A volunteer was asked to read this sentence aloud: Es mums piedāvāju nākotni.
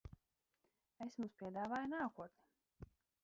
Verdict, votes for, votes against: rejected, 0, 4